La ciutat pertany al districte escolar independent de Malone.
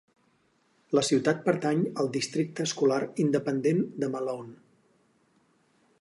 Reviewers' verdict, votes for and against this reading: accepted, 6, 0